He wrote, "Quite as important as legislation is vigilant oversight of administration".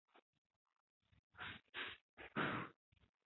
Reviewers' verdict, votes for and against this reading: rejected, 0, 2